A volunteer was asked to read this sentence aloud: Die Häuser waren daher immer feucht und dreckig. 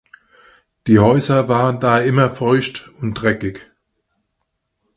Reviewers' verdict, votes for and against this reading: rejected, 1, 2